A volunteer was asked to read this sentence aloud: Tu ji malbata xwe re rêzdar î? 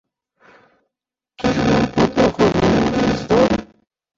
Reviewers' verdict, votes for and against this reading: rejected, 0, 2